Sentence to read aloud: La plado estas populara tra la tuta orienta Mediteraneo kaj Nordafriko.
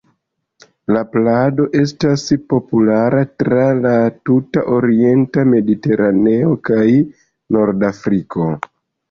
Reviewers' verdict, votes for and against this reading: accepted, 2, 0